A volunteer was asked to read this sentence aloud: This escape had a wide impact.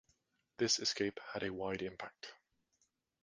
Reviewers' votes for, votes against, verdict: 2, 0, accepted